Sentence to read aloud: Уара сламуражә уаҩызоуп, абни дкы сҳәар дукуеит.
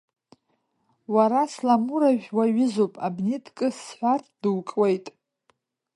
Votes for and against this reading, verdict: 2, 0, accepted